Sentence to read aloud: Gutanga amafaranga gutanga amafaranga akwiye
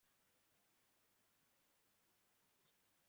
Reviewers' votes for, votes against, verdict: 0, 2, rejected